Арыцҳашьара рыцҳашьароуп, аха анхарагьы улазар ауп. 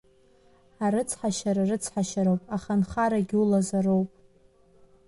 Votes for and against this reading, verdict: 1, 2, rejected